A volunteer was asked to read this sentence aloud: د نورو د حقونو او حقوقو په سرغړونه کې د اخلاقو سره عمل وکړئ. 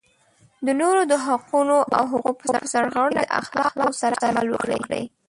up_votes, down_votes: 0, 2